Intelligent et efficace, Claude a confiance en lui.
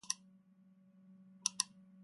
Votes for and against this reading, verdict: 0, 2, rejected